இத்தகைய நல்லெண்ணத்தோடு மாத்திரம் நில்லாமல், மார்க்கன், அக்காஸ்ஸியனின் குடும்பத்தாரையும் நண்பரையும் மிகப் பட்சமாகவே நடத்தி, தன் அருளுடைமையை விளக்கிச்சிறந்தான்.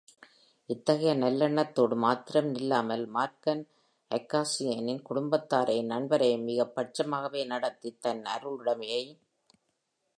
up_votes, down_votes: 2, 3